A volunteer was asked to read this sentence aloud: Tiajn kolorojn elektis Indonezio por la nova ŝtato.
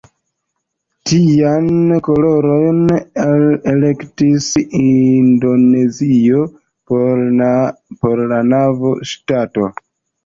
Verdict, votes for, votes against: rejected, 1, 2